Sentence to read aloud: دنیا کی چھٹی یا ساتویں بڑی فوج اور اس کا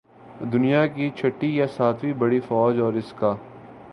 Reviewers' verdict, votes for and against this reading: accepted, 2, 0